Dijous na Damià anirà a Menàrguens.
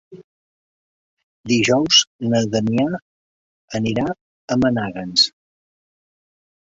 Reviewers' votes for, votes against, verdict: 0, 3, rejected